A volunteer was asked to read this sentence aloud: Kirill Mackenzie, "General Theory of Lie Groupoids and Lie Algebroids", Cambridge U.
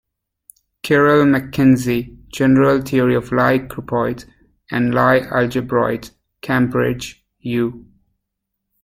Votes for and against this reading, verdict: 2, 0, accepted